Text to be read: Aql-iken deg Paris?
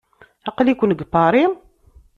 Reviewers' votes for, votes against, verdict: 2, 0, accepted